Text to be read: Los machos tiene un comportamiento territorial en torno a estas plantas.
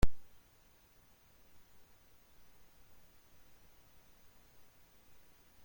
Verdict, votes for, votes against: rejected, 0, 2